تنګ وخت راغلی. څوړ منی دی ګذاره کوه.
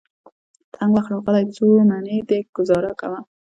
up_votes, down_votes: 2, 0